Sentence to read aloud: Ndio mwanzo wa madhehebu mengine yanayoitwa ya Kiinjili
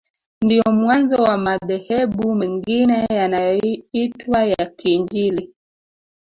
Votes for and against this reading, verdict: 1, 3, rejected